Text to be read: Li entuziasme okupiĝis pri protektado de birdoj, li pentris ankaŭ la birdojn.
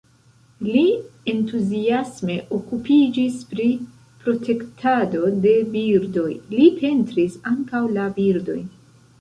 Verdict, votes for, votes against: rejected, 2, 3